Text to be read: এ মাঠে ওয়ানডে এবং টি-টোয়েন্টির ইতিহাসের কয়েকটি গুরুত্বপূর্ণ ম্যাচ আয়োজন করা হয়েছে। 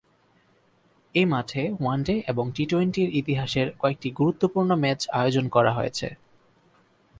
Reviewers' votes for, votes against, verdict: 10, 0, accepted